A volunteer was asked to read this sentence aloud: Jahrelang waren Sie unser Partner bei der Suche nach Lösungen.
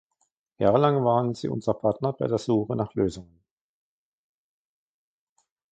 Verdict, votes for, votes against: rejected, 1, 2